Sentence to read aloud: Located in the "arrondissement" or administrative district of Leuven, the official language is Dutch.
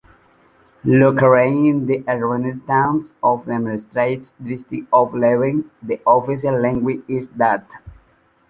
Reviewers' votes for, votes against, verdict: 0, 2, rejected